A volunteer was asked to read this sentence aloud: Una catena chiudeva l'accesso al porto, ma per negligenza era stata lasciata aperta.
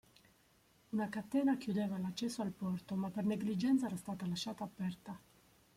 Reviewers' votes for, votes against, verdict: 0, 2, rejected